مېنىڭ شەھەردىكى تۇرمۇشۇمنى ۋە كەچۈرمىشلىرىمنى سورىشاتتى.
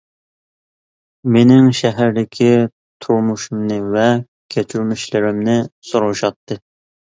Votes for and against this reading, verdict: 2, 0, accepted